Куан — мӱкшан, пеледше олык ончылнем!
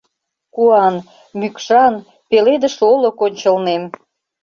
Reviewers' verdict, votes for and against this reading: rejected, 0, 2